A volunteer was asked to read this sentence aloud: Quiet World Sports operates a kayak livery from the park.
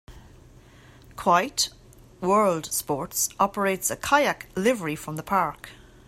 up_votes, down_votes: 2, 3